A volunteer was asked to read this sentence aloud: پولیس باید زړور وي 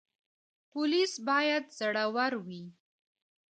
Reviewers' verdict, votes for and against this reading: accepted, 3, 0